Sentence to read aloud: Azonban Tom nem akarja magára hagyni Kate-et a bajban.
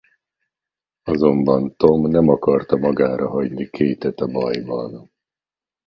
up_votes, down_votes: 0, 2